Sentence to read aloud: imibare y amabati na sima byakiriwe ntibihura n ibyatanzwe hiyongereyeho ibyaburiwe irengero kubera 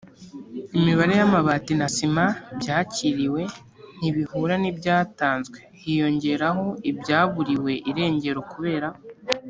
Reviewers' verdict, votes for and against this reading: rejected, 1, 2